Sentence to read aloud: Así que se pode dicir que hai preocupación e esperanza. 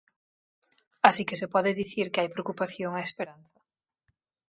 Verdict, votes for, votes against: rejected, 0, 4